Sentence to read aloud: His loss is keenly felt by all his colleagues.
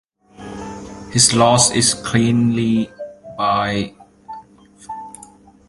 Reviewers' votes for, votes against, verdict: 0, 2, rejected